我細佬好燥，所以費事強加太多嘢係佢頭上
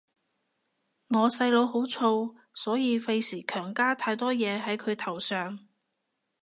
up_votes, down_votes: 2, 0